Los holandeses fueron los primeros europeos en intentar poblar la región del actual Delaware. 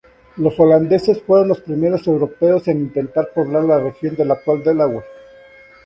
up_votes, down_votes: 0, 4